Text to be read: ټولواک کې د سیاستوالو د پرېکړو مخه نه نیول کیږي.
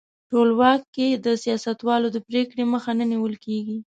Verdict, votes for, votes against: accepted, 2, 0